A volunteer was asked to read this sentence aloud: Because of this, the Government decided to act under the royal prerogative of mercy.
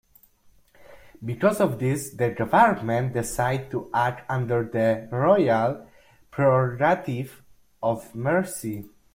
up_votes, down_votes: 0, 2